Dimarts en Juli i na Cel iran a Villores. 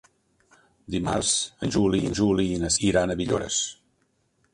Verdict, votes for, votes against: rejected, 1, 2